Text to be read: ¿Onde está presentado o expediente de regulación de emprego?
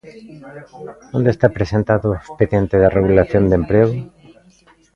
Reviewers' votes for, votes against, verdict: 0, 2, rejected